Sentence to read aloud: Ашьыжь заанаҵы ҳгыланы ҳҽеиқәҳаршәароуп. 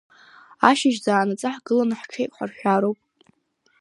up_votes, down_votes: 2, 1